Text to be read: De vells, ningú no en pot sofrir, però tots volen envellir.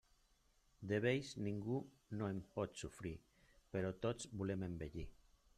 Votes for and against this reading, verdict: 0, 2, rejected